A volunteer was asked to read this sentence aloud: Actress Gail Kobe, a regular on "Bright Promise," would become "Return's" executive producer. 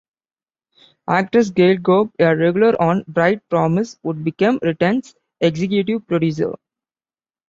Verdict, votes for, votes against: accepted, 2, 1